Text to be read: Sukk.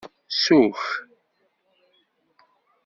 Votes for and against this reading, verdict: 1, 2, rejected